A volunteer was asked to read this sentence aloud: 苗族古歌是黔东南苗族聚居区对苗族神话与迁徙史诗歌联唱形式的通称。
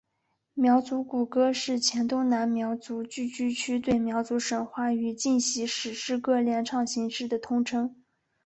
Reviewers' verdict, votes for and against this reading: accepted, 3, 0